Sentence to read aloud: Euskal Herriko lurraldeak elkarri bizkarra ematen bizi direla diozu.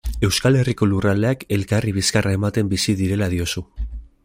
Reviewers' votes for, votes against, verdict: 3, 0, accepted